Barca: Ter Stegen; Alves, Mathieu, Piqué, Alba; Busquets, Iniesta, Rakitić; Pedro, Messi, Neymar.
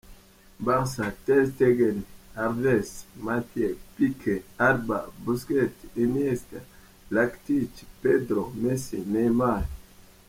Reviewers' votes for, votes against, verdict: 0, 2, rejected